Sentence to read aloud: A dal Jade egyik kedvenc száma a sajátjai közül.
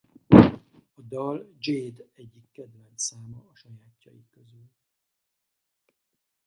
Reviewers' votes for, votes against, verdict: 2, 4, rejected